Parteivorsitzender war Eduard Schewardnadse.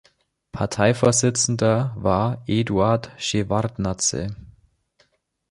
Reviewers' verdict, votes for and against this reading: accepted, 2, 0